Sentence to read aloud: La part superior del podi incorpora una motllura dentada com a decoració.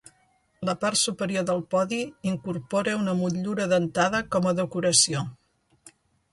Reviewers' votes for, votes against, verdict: 3, 0, accepted